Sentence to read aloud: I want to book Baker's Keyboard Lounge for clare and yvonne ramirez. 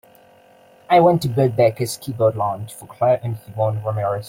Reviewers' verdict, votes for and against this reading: accepted, 2, 0